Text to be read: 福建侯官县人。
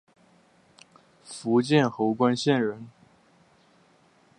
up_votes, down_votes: 3, 0